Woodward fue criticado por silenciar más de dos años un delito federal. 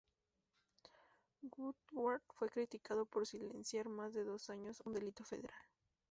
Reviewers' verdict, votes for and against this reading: rejected, 0, 2